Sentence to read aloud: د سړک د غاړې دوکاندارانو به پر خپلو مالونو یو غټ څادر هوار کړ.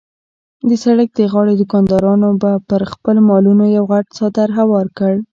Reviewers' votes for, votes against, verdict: 2, 0, accepted